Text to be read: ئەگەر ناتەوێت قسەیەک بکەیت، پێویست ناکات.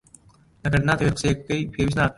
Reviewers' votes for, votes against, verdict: 2, 0, accepted